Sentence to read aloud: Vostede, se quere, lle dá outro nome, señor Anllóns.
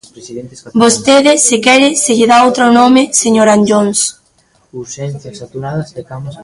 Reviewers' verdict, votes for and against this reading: rejected, 0, 2